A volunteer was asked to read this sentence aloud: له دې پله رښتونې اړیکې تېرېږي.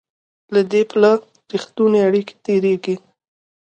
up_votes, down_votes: 2, 1